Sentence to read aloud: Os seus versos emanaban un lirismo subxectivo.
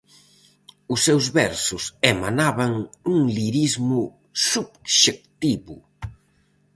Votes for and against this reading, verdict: 2, 2, rejected